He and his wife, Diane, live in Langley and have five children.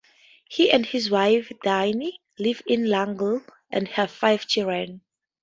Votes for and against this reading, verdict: 2, 2, rejected